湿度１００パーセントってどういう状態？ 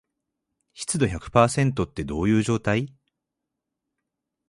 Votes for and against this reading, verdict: 0, 2, rejected